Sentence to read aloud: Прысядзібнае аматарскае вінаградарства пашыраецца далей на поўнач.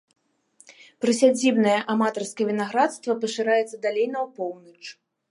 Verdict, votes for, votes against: rejected, 1, 2